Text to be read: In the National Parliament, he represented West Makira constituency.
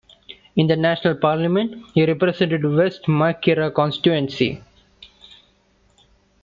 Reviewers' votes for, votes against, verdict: 1, 2, rejected